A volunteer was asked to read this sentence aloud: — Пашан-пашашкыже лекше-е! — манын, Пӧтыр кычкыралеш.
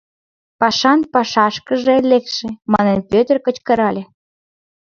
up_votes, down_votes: 1, 2